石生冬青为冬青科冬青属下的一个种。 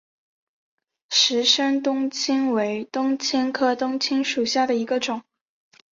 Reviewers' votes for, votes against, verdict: 3, 0, accepted